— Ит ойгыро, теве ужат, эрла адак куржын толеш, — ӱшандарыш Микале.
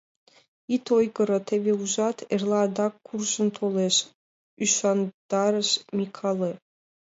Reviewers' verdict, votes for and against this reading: rejected, 2, 4